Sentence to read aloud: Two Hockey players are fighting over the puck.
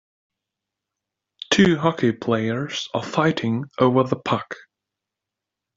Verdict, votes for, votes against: accepted, 2, 0